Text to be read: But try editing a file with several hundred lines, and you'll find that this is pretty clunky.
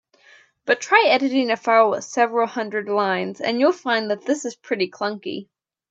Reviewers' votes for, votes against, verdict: 2, 0, accepted